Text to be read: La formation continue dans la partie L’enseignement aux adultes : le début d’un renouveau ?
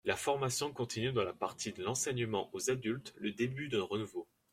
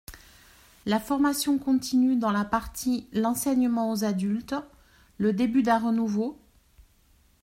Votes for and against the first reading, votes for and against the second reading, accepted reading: 1, 2, 2, 0, second